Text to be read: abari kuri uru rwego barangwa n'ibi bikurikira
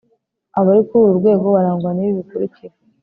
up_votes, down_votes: 2, 0